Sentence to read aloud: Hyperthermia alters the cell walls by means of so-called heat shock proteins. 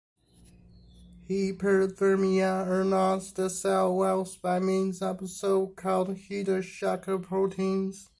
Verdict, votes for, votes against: rejected, 0, 2